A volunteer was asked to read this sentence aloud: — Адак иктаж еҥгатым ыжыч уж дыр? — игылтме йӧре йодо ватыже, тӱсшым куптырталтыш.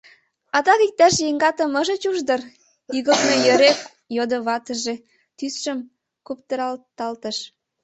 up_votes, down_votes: 0, 2